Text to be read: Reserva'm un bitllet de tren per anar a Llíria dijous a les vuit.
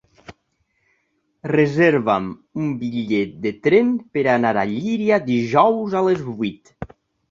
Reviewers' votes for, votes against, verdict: 3, 1, accepted